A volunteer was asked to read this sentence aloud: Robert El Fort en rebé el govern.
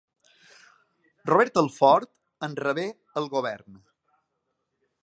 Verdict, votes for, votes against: accepted, 2, 0